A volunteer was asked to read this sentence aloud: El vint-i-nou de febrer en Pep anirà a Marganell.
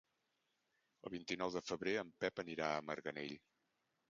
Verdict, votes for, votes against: accepted, 2, 1